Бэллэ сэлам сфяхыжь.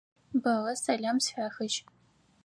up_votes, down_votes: 4, 2